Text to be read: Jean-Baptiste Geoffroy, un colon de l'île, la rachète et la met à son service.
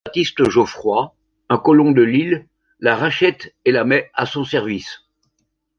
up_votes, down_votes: 1, 2